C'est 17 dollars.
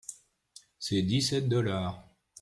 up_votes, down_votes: 0, 2